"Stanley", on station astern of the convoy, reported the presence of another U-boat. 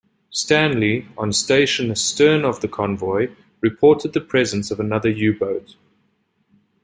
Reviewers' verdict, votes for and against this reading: accepted, 2, 0